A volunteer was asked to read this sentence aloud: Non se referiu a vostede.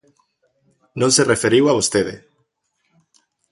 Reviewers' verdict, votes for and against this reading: accepted, 3, 0